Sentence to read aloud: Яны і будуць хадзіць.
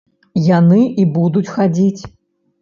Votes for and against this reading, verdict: 2, 0, accepted